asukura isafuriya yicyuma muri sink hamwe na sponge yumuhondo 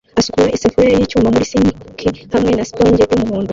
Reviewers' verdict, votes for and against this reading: rejected, 0, 2